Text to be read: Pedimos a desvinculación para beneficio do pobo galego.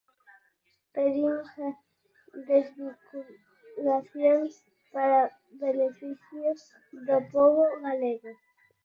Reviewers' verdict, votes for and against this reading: rejected, 0, 4